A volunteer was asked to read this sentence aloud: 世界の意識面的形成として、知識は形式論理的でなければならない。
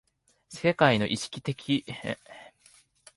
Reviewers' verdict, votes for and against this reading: rejected, 0, 2